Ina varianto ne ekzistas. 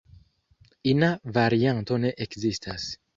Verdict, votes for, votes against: accepted, 2, 1